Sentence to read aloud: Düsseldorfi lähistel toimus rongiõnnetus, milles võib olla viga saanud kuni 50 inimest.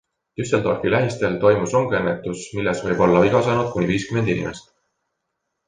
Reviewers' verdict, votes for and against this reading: rejected, 0, 2